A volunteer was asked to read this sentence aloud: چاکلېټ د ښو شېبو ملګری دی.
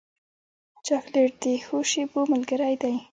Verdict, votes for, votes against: accepted, 2, 1